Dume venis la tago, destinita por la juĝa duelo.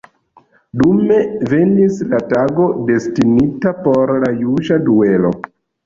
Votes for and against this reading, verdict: 2, 1, accepted